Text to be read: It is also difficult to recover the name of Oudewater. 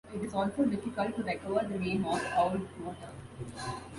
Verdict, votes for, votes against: rejected, 1, 2